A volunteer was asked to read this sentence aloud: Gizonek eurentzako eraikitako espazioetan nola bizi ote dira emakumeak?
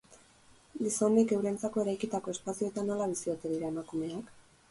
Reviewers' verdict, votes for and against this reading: rejected, 0, 4